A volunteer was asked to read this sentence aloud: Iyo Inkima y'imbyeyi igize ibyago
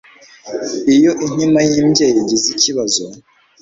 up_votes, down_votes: 1, 2